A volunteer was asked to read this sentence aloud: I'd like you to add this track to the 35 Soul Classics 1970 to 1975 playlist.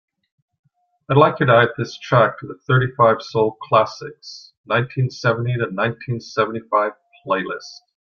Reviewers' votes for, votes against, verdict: 0, 2, rejected